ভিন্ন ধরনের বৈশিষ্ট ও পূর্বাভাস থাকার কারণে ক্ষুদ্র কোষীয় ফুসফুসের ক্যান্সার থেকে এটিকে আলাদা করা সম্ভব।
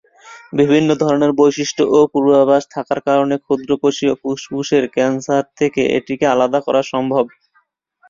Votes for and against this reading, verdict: 3, 0, accepted